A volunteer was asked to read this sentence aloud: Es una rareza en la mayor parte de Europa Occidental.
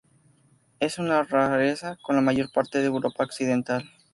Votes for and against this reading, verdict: 0, 2, rejected